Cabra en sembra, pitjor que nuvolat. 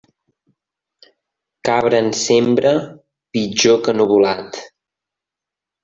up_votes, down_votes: 2, 0